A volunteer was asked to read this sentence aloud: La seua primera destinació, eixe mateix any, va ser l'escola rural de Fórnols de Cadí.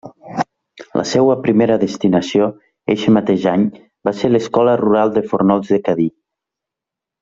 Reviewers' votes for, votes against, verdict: 1, 2, rejected